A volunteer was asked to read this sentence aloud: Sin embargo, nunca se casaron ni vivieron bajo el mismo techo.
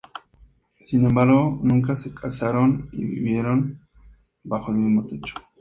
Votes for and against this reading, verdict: 4, 2, accepted